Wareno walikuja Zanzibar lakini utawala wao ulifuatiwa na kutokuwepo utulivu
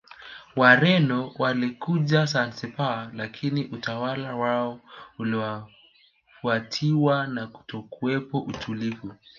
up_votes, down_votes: 2, 0